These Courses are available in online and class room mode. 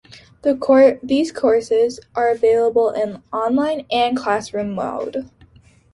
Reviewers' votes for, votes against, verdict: 2, 0, accepted